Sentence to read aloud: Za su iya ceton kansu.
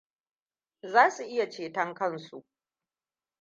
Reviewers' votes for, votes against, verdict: 1, 2, rejected